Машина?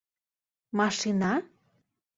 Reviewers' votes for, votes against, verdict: 2, 0, accepted